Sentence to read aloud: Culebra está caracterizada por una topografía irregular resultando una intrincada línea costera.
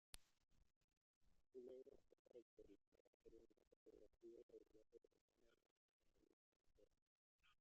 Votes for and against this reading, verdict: 0, 2, rejected